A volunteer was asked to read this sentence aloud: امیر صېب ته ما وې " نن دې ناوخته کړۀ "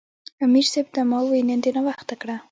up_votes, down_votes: 0, 2